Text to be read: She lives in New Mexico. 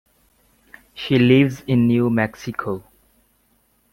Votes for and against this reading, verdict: 2, 0, accepted